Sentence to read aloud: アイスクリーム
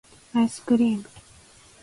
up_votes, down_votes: 2, 0